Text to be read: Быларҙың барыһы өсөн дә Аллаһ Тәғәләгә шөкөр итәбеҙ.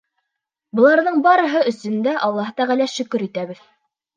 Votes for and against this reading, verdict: 1, 2, rejected